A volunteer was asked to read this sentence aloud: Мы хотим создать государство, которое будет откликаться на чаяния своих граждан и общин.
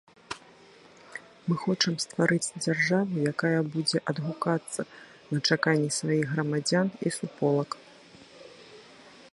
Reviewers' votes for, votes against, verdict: 0, 2, rejected